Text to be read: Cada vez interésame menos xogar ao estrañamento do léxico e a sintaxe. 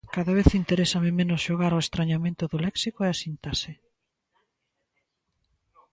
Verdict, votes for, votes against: accepted, 2, 0